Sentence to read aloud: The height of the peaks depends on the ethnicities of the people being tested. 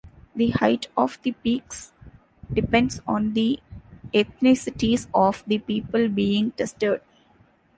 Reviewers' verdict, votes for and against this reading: rejected, 1, 2